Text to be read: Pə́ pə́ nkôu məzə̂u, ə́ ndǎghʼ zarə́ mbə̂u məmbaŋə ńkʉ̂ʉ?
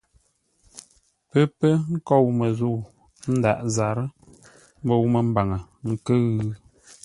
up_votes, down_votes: 2, 0